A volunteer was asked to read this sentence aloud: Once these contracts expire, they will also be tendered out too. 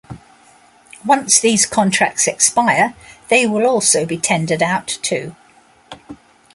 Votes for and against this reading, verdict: 2, 0, accepted